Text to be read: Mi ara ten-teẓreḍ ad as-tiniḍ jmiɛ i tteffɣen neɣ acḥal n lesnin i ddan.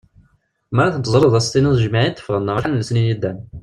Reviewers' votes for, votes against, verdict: 1, 2, rejected